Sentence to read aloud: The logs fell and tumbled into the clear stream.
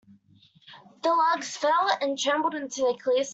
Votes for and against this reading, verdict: 1, 2, rejected